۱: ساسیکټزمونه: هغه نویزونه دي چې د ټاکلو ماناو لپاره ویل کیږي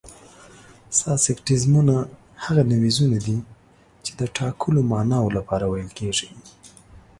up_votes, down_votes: 0, 2